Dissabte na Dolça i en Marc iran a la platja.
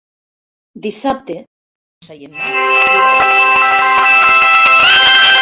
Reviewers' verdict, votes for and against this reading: rejected, 0, 2